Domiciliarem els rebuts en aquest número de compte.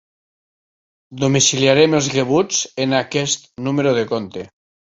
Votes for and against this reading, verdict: 1, 2, rejected